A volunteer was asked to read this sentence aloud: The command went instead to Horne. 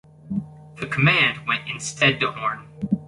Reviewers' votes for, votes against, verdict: 2, 0, accepted